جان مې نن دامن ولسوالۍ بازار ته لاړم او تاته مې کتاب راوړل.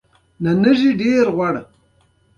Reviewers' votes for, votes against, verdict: 2, 1, accepted